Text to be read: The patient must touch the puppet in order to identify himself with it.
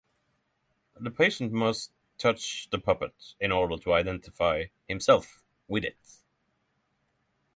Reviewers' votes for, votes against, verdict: 6, 0, accepted